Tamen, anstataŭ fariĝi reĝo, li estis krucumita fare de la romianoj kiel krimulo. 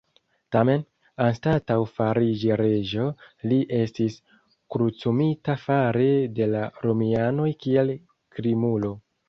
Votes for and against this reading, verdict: 0, 2, rejected